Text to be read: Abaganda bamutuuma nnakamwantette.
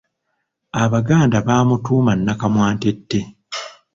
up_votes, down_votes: 2, 0